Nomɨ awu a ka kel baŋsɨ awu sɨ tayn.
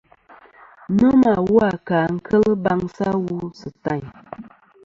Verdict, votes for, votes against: accepted, 2, 1